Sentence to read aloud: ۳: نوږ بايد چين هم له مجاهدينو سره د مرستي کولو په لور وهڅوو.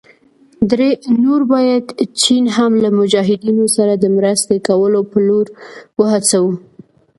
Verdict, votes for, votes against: rejected, 0, 2